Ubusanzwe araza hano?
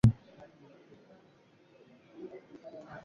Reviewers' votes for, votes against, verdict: 0, 2, rejected